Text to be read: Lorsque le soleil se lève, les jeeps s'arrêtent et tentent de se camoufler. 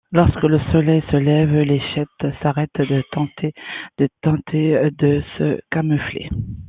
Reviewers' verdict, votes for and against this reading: rejected, 0, 2